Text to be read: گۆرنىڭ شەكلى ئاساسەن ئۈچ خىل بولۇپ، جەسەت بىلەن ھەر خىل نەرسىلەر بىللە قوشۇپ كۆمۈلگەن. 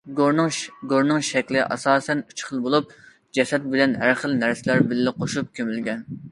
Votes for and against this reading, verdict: 0, 2, rejected